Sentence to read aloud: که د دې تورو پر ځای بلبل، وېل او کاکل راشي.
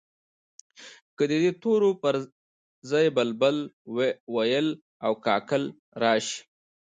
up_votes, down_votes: 0, 2